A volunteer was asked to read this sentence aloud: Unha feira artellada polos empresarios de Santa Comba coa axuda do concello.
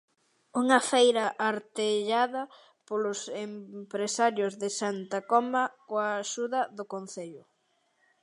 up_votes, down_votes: 1, 2